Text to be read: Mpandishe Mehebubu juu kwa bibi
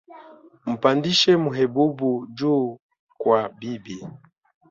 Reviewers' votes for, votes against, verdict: 1, 2, rejected